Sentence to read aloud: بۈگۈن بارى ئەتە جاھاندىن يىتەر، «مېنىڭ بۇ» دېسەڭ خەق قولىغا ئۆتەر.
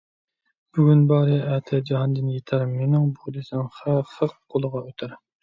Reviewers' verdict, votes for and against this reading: rejected, 1, 2